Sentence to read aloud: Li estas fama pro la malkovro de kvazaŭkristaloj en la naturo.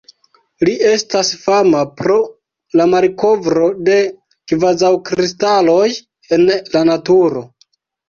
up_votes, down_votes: 2, 0